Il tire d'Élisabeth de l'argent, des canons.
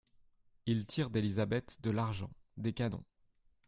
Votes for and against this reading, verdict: 2, 1, accepted